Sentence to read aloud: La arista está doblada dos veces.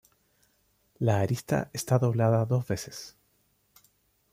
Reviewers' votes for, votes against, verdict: 0, 2, rejected